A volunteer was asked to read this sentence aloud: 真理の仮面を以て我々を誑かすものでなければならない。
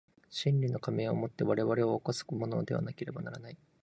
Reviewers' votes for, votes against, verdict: 1, 2, rejected